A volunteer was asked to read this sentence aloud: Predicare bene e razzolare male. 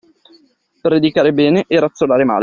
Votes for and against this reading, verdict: 2, 0, accepted